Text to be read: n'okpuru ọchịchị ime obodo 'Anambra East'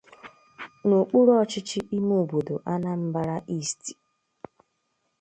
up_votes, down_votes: 2, 0